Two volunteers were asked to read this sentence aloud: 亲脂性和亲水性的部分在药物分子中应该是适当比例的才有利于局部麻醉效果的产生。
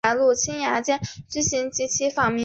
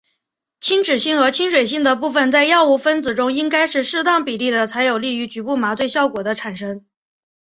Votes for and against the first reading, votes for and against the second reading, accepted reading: 0, 2, 2, 0, second